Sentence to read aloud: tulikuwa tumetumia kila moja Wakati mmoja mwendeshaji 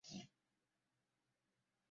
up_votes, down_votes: 0, 2